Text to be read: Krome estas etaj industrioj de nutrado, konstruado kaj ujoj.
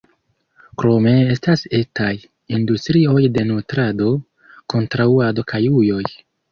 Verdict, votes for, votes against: rejected, 1, 2